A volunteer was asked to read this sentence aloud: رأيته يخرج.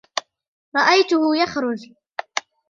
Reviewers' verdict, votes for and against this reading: rejected, 1, 2